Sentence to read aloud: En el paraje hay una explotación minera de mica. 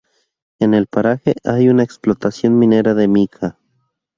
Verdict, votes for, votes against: accepted, 2, 0